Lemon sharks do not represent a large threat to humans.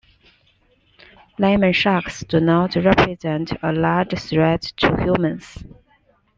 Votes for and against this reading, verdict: 2, 1, accepted